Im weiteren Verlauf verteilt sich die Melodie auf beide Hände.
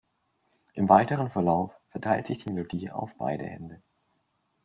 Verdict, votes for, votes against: accepted, 2, 0